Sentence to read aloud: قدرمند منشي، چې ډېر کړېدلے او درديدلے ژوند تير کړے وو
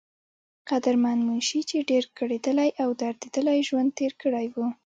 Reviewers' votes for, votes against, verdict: 2, 0, accepted